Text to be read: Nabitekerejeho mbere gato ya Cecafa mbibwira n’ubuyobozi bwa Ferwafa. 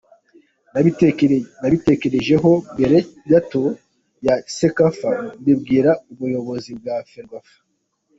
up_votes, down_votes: 2, 0